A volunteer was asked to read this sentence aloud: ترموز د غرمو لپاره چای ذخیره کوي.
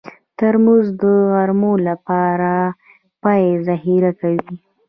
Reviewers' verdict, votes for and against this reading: accepted, 2, 1